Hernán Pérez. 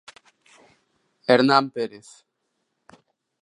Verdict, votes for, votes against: accepted, 2, 1